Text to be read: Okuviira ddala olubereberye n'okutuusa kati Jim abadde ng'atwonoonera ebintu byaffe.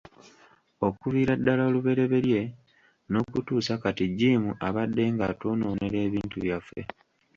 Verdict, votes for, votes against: rejected, 1, 2